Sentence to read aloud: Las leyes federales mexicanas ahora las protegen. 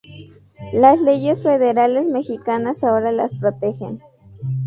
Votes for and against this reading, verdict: 2, 2, rejected